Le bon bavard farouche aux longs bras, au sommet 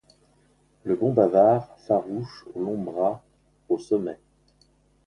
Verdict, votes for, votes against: rejected, 1, 2